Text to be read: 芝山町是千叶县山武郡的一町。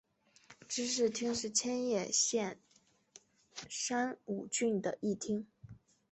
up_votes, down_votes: 2, 3